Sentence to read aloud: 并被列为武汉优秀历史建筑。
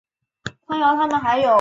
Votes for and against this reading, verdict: 2, 3, rejected